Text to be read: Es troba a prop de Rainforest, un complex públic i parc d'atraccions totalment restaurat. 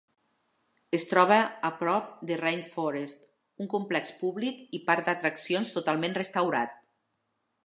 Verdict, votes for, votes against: accepted, 2, 0